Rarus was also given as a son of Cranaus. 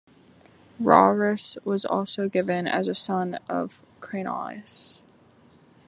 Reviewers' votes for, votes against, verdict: 2, 0, accepted